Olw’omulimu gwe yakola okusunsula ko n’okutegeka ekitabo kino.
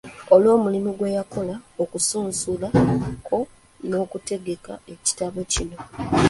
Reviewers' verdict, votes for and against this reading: accepted, 2, 0